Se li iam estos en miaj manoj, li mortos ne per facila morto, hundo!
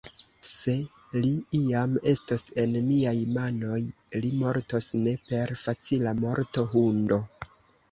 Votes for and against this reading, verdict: 0, 2, rejected